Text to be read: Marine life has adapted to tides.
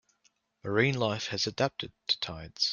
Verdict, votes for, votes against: accepted, 2, 0